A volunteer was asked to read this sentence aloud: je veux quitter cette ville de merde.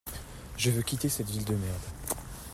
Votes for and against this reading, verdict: 2, 0, accepted